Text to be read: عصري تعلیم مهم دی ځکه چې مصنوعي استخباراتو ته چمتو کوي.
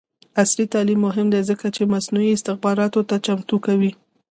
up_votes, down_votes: 2, 0